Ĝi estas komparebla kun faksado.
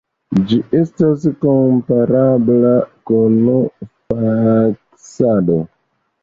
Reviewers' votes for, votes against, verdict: 1, 2, rejected